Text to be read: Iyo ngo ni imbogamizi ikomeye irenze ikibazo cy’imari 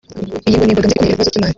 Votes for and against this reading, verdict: 0, 3, rejected